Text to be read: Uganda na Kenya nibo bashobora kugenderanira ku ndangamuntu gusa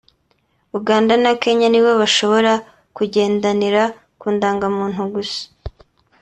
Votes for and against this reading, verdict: 2, 0, accepted